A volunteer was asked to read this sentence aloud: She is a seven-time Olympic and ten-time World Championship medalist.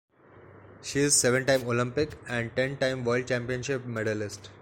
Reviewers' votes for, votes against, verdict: 0, 2, rejected